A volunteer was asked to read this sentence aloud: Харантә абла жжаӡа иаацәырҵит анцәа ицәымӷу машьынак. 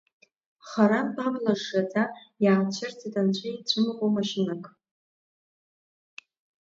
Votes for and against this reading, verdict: 0, 2, rejected